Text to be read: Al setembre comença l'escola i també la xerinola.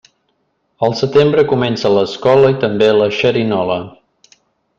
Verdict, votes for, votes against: accepted, 2, 0